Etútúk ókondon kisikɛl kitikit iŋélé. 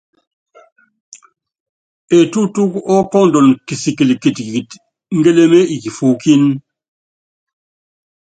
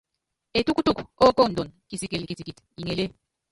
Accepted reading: first